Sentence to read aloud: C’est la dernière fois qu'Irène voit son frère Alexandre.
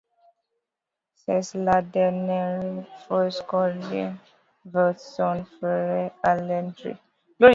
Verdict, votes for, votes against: rejected, 0, 2